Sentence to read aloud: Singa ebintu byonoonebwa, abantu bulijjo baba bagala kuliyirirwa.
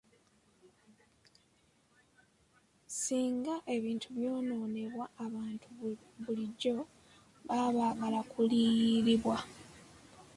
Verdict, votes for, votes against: accepted, 5, 0